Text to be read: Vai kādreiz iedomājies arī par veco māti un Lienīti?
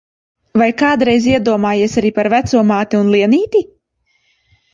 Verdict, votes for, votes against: accepted, 2, 1